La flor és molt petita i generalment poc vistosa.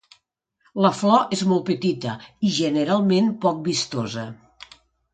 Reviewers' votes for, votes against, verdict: 2, 0, accepted